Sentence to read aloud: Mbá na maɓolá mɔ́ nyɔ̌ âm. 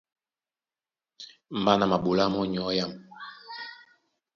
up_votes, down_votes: 2, 1